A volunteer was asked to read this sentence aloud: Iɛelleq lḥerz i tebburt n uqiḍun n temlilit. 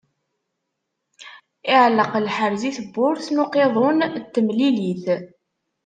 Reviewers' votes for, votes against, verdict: 2, 0, accepted